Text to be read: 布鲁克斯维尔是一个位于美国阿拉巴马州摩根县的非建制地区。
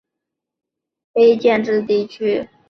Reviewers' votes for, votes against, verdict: 1, 5, rejected